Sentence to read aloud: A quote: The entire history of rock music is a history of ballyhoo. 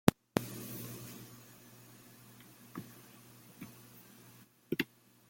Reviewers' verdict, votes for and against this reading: rejected, 0, 2